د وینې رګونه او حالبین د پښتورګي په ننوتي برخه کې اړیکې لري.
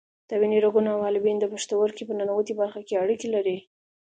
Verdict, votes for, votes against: accepted, 2, 0